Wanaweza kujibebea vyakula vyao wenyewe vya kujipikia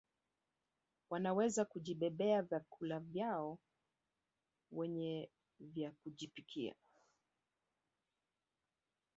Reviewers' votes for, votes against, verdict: 3, 2, accepted